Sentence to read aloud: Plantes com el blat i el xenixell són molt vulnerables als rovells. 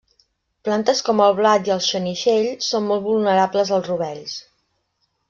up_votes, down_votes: 2, 0